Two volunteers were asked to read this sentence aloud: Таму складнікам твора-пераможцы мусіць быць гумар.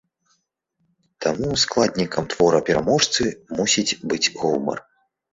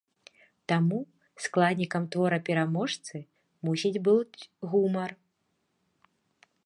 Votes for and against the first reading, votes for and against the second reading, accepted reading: 2, 0, 1, 2, first